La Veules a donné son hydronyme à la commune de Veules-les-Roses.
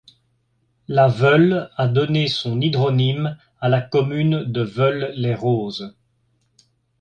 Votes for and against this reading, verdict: 2, 0, accepted